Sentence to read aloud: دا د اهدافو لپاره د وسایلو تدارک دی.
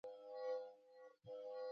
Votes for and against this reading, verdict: 1, 2, rejected